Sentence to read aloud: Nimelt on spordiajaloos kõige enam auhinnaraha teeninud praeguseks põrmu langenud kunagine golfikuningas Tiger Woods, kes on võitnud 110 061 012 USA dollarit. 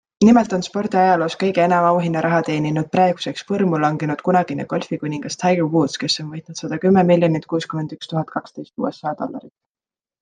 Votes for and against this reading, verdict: 0, 2, rejected